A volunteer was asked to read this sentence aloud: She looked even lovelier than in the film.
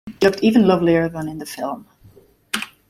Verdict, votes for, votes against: rejected, 1, 2